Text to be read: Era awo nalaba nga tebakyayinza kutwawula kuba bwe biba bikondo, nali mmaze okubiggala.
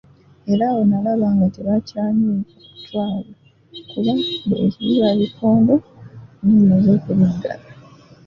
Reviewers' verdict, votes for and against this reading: rejected, 0, 2